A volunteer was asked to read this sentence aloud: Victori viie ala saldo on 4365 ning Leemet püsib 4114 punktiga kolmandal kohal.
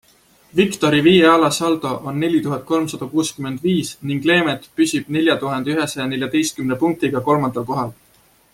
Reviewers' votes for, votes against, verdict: 0, 2, rejected